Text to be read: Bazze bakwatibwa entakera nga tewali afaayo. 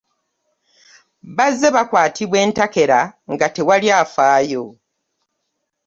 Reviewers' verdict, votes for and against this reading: accepted, 2, 0